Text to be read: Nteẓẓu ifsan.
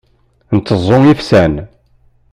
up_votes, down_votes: 2, 0